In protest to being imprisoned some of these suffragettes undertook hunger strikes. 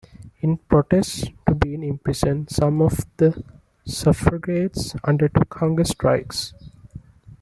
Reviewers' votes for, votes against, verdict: 1, 2, rejected